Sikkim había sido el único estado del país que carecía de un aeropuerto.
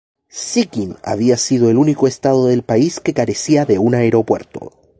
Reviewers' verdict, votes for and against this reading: accepted, 2, 0